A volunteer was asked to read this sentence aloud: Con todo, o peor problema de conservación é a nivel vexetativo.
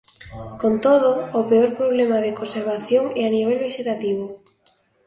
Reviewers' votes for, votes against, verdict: 2, 0, accepted